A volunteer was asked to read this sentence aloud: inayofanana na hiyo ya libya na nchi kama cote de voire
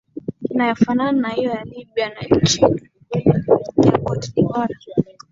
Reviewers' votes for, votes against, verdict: 1, 2, rejected